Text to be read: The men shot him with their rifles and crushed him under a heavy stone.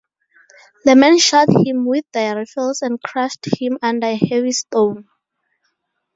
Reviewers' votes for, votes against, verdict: 2, 0, accepted